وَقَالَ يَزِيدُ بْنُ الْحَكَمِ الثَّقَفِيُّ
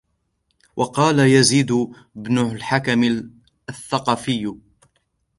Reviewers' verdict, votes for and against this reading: accepted, 2, 0